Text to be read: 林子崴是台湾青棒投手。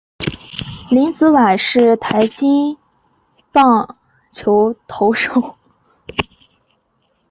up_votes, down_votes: 1, 2